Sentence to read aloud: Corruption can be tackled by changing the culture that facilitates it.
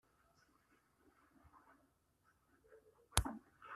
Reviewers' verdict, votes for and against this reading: rejected, 0, 2